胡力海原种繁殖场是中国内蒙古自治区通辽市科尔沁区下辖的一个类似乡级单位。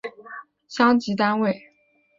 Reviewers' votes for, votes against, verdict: 0, 2, rejected